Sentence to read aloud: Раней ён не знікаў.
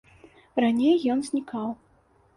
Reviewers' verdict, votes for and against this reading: rejected, 0, 2